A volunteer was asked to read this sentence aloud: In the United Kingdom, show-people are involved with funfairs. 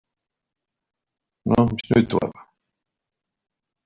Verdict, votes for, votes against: rejected, 0, 2